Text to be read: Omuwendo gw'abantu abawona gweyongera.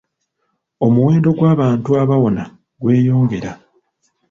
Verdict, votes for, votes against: rejected, 1, 2